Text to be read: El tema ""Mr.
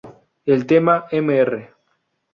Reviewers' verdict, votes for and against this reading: rejected, 2, 2